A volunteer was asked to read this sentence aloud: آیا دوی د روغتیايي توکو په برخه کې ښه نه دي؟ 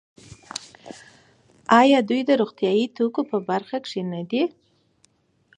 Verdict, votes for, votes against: accepted, 4, 0